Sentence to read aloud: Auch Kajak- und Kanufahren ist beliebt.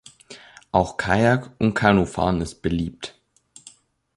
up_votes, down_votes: 2, 0